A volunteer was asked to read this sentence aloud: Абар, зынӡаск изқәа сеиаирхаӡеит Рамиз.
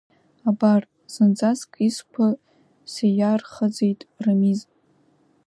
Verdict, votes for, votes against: accepted, 2, 1